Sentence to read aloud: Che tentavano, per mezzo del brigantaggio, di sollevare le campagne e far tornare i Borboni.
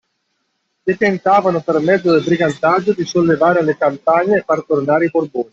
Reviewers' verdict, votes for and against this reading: rejected, 1, 2